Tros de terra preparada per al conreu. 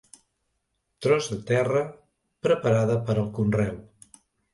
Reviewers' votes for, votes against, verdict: 2, 0, accepted